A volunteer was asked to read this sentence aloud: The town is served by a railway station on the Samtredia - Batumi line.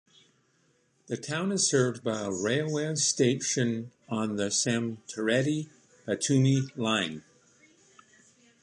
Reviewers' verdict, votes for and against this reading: accepted, 2, 0